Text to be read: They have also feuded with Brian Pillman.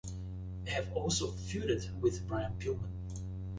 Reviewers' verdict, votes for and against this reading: accepted, 2, 0